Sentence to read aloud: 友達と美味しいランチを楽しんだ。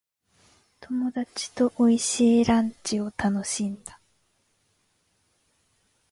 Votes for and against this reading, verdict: 2, 0, accepted